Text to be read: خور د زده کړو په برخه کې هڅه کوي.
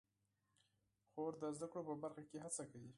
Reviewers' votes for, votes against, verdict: 4, 0, accepted